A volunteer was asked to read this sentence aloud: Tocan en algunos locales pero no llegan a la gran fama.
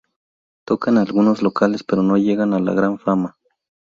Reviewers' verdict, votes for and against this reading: rejected, 0, 2